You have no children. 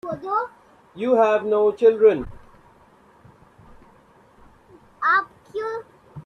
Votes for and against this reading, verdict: 0, 2, rejected